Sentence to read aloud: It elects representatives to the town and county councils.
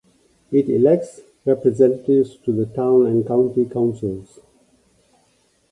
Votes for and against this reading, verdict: 2, 1, accepted